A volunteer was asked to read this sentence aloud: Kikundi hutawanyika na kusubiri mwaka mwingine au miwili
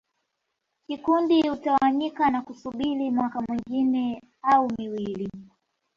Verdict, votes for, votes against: accepted, 2, 0